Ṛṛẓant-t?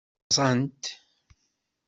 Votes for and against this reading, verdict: 1, 2, rejected